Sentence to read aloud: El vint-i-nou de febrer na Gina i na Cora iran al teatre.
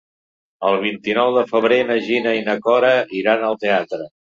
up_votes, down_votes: 0, 2